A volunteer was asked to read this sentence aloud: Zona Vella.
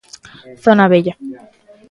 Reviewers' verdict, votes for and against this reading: accepted, 3, 1